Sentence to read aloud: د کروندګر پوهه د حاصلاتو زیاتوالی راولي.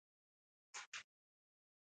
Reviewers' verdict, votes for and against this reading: rejected, 0, 2